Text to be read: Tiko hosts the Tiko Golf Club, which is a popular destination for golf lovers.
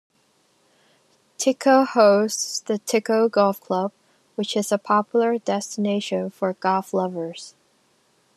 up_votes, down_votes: 2, 1